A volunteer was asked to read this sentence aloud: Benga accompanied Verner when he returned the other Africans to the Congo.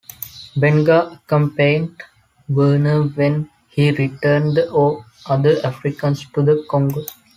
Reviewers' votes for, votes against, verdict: 0, 2, rejected